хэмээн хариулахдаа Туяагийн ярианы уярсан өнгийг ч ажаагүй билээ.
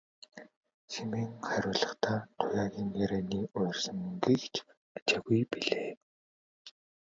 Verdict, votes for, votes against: rejected, 0, 2